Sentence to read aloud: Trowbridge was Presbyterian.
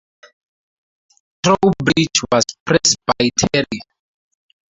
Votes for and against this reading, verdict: 2, 0, accepted